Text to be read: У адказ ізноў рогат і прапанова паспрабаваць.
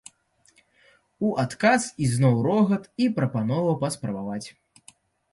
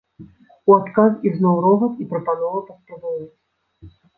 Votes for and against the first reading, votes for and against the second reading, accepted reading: 2, 0, 1, 2, first